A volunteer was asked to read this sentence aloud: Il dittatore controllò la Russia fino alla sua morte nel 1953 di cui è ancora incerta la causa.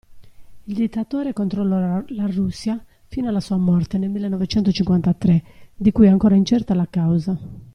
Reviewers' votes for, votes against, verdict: 0, 2, rejected